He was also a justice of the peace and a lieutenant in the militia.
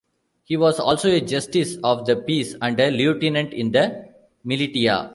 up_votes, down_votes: 1, 2